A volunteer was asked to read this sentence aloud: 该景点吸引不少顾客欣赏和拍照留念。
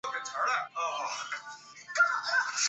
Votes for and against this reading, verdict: 0, 3, rejected